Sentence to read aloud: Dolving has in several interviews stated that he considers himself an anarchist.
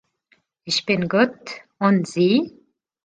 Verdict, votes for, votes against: rejected, 0, 2